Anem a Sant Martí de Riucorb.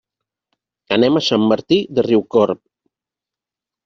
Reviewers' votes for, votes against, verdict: 3, 0, accepted